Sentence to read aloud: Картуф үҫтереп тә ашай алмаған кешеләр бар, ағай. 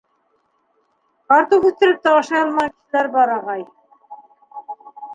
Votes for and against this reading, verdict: 2, 3, rejected